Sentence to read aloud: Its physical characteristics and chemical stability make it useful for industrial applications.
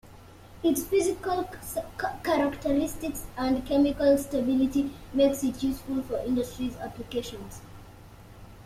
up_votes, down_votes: 1, 2